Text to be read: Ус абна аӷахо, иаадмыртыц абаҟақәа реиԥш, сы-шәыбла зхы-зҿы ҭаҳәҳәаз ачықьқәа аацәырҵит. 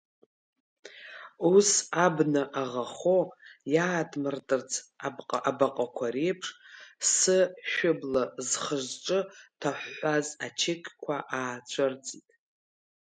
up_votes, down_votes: 1, 2